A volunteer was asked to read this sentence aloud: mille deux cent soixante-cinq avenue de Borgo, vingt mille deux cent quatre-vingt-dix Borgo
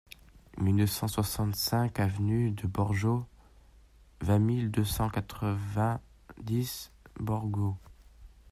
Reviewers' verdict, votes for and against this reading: rejected, 0, 2